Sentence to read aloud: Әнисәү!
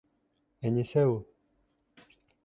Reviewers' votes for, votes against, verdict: 2, 0, accepted